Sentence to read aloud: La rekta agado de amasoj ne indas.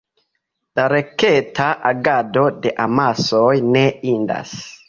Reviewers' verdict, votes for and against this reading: rejected, 0, 2